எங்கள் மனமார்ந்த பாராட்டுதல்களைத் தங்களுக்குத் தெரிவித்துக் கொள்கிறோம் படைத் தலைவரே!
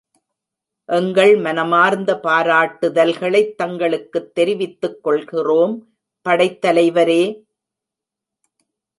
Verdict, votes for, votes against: accepted, 2, 1